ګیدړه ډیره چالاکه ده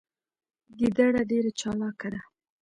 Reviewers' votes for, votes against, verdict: 2, 0, accepted